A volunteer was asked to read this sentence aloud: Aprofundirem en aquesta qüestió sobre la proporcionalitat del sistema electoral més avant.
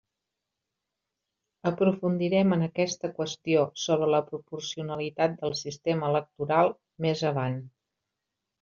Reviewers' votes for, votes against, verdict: 2, 0, accepted